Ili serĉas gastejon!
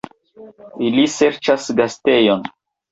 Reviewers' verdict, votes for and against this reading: accepted, 2, 0